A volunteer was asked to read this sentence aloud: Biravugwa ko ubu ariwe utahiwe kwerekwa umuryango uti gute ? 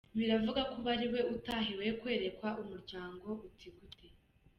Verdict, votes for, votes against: accepted, 2, 0